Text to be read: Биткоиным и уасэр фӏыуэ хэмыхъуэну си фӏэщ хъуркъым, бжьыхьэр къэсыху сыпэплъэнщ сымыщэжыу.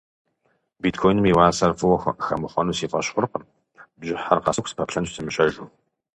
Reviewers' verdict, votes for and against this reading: accepted, 2, 0